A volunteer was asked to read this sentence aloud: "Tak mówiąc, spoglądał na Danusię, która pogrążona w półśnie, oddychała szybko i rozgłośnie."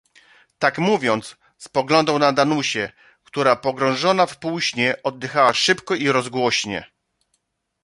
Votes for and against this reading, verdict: 2, 0, accepted